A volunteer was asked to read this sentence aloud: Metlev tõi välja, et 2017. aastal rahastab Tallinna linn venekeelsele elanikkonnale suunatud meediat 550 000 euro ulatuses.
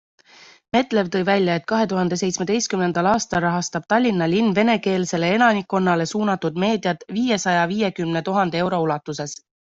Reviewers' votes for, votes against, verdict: 0, 2, rejected